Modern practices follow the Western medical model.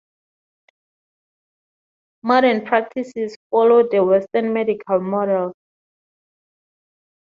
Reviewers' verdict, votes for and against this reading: accepted, 4, 0